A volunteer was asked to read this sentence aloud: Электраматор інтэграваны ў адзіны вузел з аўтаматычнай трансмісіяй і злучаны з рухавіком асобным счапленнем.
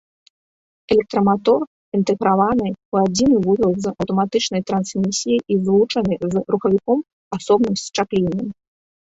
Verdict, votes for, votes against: accepted, 2, 1